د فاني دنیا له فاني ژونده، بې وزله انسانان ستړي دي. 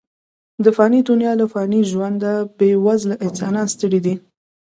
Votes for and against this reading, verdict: 2, 0, accepted